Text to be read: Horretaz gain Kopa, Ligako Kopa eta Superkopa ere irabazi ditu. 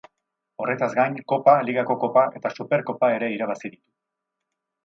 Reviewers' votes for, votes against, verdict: 0, 6, rejected